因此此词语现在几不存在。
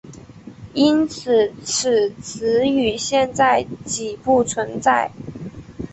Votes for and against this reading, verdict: 3, 0, accepted